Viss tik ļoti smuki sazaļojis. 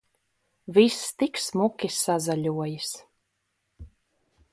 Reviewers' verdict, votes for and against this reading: rejected, 0, 2